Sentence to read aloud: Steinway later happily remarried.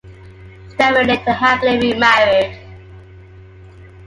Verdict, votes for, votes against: accepted, 2, 0